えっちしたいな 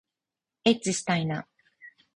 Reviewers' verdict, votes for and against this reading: accepted, 4, 0